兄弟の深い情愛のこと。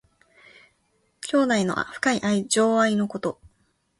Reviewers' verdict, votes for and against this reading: rejected, 0, 2